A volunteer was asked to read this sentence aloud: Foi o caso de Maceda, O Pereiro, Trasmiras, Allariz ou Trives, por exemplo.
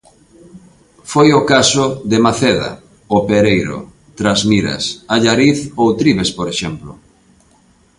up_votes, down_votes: 2, 0